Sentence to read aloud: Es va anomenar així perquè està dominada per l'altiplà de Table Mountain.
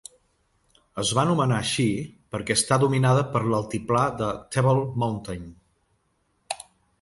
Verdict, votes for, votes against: accepted, 2, 0